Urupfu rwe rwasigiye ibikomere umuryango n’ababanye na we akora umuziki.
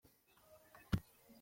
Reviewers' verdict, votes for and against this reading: rejected, 0, 2